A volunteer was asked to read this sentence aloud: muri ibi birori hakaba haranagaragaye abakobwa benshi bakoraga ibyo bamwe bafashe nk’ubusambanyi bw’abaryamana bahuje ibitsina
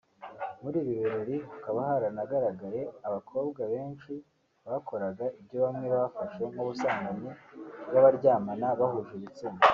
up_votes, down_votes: 2, 0